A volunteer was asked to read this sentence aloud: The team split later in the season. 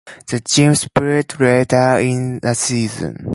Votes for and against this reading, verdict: 2, 0, accepted